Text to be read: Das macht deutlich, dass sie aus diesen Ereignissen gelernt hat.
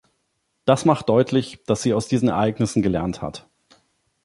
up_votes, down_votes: 2, 0